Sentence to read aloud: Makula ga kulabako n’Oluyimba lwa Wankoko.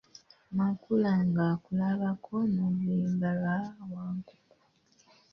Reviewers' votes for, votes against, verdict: 0, 2, rejected